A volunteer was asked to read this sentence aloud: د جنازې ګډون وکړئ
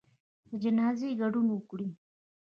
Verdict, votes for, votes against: accepted, 2, 1